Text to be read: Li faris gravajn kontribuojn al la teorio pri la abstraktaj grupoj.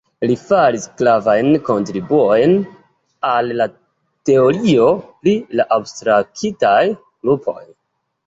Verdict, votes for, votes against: accepted, 2, 0